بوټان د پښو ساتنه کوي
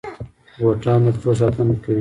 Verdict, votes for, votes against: rejected, 1, 2